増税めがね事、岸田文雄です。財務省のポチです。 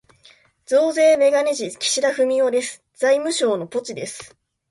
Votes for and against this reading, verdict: 2, 1, accepted